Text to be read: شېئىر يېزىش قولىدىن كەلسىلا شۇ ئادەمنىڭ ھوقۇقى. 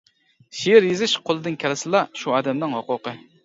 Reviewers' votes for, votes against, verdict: 2, 0, accepted